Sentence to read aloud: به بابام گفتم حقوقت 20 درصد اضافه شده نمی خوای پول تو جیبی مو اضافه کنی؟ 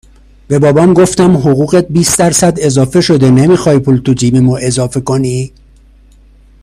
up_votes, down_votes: 0, 2